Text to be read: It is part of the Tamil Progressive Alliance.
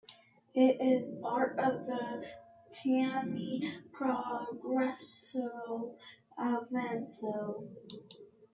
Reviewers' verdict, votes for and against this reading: rejected, 1, 2